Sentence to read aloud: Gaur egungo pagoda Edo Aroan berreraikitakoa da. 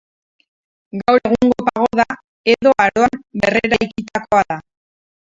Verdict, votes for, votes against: rejected, 0, 2